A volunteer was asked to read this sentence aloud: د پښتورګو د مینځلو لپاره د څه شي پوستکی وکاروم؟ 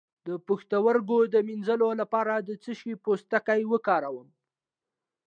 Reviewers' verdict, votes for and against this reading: accepted, 2, 0